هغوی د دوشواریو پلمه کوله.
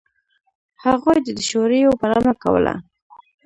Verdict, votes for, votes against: rejected, 1, 2